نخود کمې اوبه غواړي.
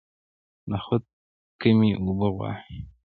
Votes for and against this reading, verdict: 2, 0, accepted